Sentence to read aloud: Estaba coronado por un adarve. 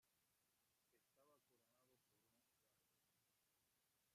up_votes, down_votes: 0, 2